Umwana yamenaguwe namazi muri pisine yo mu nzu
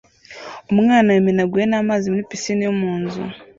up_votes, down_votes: 2, 0